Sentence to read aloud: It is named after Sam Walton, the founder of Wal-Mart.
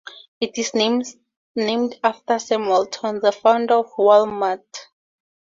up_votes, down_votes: 0, 2